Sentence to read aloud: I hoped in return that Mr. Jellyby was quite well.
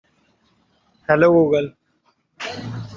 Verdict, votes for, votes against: rejected, 0, 2